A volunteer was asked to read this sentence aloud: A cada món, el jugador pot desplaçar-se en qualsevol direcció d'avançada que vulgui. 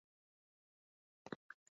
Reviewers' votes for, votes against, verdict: 0, 2, rejected